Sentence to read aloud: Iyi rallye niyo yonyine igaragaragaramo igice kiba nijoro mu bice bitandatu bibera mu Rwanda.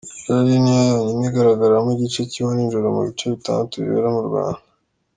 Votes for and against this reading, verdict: 0, 2, rejected